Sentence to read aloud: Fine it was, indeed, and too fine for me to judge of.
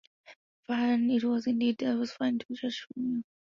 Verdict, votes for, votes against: rejected, 0, 2